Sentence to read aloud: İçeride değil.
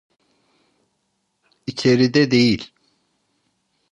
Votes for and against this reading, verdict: 2, 0, accepted